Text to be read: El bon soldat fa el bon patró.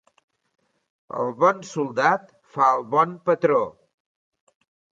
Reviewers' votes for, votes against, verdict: 2, 0, accepted